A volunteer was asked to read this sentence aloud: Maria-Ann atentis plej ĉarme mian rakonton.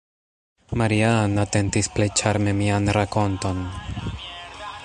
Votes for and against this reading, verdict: 1, 2, rejected